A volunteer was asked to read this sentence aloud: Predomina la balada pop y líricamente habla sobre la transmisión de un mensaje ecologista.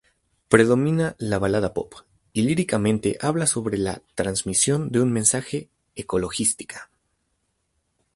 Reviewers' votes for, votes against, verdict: 2, 2, rejected